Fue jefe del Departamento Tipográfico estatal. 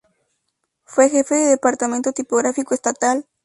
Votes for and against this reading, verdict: 0, 2, rejected